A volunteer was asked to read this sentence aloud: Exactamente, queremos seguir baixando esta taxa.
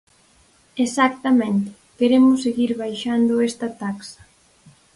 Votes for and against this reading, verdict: 0, 4, rejected